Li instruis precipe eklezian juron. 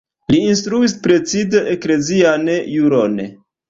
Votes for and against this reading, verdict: 1, 2, rejected